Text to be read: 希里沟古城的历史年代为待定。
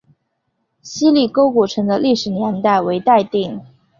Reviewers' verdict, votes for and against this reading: accepted, 3, 1